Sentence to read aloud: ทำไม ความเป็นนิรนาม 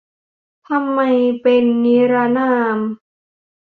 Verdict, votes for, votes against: rejected, 0, 2